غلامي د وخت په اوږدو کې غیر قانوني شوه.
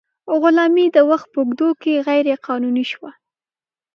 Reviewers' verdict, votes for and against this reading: accepted, 2, 0